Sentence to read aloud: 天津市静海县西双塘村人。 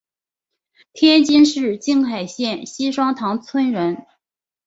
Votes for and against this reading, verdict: 3, 0, accepted